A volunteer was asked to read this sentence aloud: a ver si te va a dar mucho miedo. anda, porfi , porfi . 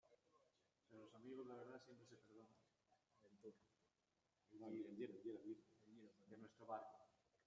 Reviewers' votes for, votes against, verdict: 0, 2, rejected